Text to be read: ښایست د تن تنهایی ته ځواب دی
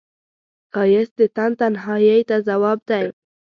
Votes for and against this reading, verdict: 2, 0, accepted